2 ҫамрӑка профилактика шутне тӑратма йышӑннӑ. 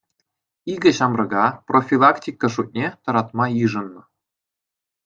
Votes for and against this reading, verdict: 0, 2, rejected